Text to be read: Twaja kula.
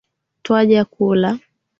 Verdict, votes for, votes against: accepted, 2, 0